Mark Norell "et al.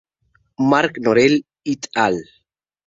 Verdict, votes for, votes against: rejected, 0, 2